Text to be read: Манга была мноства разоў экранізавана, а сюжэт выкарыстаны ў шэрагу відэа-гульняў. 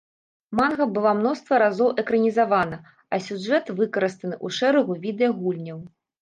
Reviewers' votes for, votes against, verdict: 2, 0, accepted